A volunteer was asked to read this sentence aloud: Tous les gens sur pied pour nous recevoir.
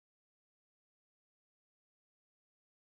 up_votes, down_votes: 0, 2